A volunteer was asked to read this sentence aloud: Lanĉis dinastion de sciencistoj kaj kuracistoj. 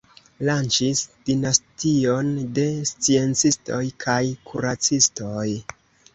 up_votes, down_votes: 3, 0